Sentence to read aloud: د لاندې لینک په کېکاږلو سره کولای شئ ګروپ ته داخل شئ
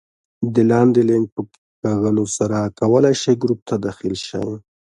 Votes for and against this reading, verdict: 1, 2, rejected